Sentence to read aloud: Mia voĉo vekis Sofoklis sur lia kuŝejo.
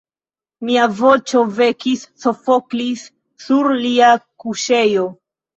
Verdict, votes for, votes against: accepted, 2, 1